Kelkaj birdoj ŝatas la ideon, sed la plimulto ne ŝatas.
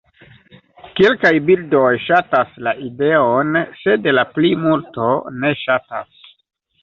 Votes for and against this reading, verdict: 1, 2, rejected